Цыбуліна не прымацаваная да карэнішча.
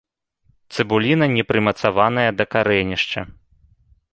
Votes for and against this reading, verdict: 1, 2, rejected